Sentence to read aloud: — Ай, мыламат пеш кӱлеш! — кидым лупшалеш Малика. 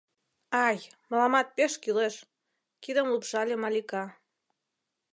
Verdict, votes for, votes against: rejected, 1, 2